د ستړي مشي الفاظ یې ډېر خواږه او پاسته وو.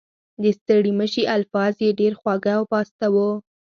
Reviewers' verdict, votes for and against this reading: accepted, 4, 0